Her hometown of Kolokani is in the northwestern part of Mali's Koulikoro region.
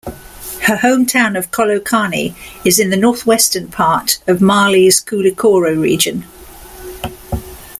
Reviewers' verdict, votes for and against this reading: rejected, 1, 2